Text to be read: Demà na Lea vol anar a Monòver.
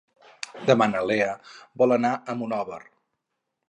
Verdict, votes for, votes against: accepted, 4, 0